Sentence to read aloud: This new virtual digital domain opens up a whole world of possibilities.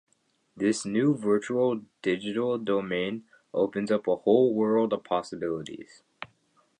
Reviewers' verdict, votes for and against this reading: accepted, 3, 0